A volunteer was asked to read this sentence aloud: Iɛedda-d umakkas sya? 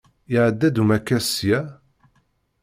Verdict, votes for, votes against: accepted, 2, 0